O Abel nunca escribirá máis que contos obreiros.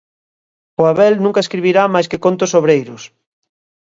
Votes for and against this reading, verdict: 2, 0, accepted